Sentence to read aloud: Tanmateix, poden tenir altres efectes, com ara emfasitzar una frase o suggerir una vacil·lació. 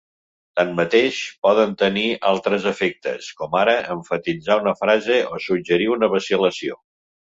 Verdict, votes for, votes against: rejected, 1, 2